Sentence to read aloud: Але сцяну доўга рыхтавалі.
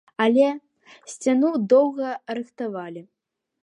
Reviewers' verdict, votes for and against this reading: accepted, 2, 0